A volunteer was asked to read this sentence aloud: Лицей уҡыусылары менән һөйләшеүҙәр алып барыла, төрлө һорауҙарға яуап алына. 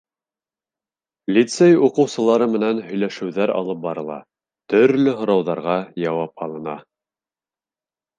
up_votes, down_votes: 2, 0